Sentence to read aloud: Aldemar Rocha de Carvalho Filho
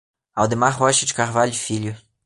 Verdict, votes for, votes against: accepted, 3, 0